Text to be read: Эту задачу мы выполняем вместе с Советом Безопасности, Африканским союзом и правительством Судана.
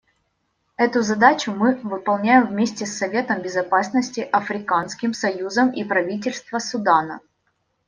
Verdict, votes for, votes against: rejected, 1, 2